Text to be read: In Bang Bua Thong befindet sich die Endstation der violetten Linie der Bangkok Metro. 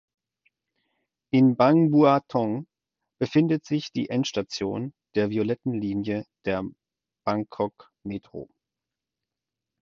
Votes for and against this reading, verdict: 4, 0, accepted